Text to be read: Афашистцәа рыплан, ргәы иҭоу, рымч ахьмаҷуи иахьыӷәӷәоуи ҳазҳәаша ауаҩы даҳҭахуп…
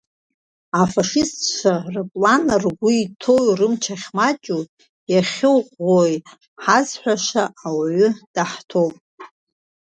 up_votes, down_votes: 1, 2